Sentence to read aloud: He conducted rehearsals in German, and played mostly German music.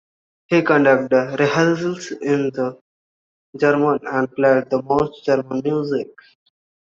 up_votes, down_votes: 0, 2